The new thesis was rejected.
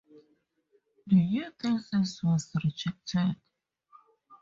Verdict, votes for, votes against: rejected, 0, 2